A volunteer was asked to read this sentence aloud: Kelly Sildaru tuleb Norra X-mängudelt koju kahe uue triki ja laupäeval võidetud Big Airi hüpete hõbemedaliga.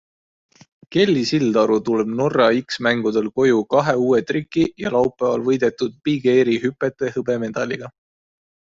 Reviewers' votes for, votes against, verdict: 2, 0, accepted